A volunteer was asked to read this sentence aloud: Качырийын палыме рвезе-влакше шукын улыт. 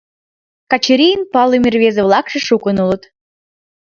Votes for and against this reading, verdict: 2, 1, accepted